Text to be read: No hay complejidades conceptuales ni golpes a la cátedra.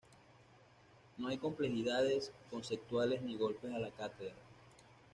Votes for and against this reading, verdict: 1, 2, rejected